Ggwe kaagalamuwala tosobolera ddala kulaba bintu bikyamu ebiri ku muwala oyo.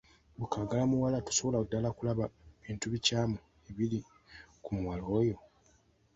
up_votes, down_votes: 2, 1